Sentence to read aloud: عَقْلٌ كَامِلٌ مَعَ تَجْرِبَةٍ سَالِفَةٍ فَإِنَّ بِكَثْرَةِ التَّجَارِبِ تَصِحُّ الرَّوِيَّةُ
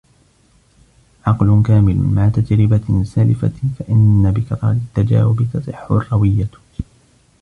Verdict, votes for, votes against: rejected, 1, 2